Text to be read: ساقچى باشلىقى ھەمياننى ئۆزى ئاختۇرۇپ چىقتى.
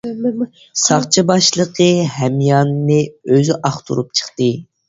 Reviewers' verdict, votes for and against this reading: accepted, 2, 0